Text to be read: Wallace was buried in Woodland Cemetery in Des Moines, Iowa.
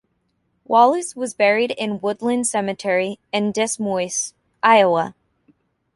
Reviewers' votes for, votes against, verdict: 1, 2, rejected